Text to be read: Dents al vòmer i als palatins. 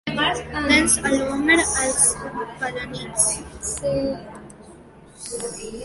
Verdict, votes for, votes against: rejected, 0, 2